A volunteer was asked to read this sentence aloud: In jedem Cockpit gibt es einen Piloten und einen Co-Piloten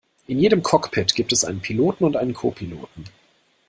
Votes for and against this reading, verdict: 2, 0, accepted